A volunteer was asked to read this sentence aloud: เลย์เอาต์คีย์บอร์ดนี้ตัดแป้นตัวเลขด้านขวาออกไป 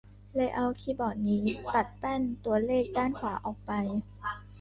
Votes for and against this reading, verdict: 0, 2, rejected